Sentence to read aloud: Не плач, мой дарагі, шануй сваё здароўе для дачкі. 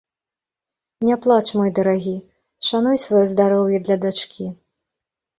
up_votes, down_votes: 1, 2